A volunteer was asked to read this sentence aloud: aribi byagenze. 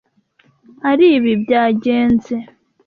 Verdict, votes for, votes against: accepted, 2, 0